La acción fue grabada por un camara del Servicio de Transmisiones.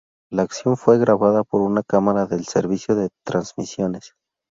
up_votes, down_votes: 2, 0